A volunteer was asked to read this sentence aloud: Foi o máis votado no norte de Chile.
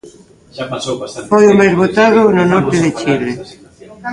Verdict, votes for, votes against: rejected, 0, 2